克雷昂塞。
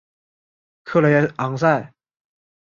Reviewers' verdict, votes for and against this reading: accepted, 2, 0